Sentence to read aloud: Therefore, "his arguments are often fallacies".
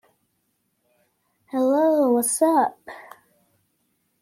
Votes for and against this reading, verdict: 0, 2, rejected